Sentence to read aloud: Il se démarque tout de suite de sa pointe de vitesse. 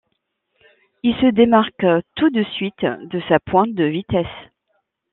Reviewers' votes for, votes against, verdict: 2, 0, accepted